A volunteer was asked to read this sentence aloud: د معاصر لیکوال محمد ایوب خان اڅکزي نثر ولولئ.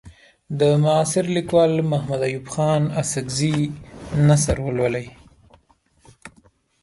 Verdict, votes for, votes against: accepted, 2, 0